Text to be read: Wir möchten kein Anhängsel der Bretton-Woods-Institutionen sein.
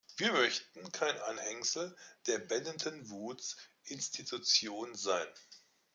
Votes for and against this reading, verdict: 0, 2, rejected